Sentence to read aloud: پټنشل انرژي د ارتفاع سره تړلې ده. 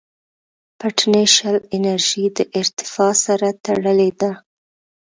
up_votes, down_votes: 2, 0